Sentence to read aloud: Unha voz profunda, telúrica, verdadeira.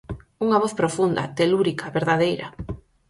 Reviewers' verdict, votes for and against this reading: accepted, 4, 0